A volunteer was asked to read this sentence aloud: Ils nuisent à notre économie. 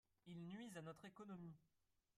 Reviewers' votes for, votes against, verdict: 1, 2, rejected